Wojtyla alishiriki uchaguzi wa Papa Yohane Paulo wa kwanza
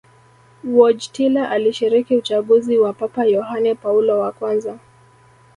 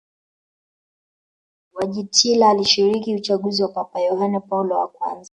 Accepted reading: second